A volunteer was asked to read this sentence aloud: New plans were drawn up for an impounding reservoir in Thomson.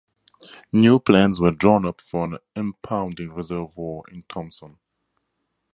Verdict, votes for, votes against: accepted, 2, 0